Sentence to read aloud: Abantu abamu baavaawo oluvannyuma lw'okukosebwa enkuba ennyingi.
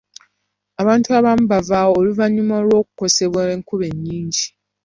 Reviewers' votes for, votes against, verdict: 2, 0, accepted